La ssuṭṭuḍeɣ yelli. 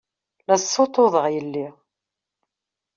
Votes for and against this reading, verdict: 2, 0, accepted